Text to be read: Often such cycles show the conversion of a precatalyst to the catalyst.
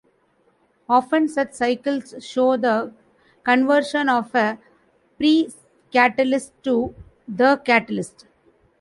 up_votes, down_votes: 1, 2